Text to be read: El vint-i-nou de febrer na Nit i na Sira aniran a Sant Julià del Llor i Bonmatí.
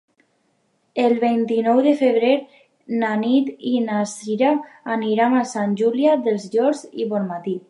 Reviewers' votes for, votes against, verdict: 1, 3, rejected